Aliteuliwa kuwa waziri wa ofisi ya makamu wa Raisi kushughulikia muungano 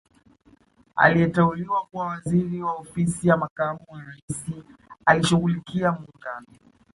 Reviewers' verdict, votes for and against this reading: rejected, 1, 2